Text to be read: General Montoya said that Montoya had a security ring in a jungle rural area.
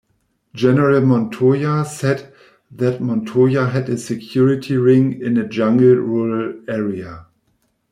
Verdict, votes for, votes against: rejected, 1, 2